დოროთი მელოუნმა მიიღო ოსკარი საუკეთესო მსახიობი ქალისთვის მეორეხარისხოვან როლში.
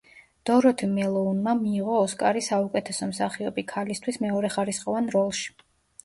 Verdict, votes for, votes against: accepted, 2, 1